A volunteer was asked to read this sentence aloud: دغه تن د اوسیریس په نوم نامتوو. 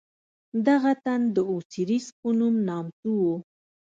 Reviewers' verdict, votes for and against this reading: rejected, 0, 2